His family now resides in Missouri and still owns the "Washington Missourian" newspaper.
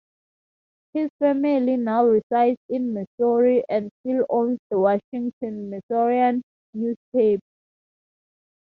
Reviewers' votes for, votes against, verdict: 2, 0, accepted